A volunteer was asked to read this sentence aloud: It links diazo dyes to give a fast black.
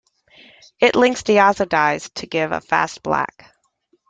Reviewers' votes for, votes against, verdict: 2, 0, accepted